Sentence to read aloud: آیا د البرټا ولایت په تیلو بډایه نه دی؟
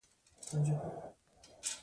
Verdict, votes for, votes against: rejected, 1, 2